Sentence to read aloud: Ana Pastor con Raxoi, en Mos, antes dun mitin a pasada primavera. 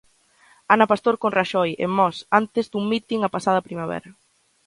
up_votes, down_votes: 2, 0